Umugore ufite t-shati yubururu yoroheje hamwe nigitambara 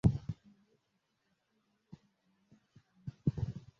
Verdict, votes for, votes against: rejected, 0, 2